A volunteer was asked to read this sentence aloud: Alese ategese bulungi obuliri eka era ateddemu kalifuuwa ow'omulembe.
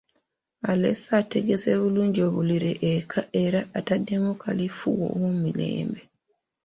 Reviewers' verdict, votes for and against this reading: accepted, 2, 1